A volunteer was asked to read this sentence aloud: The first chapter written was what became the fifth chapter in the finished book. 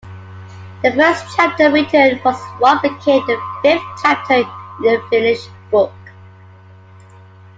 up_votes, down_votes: 2, 1